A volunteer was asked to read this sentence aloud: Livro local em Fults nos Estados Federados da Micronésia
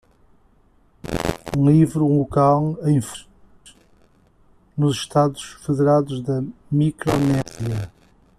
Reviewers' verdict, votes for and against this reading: rejected, 0, 2